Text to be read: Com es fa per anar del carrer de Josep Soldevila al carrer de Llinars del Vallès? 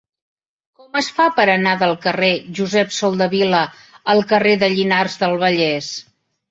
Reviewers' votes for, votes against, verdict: 1, 3, rejected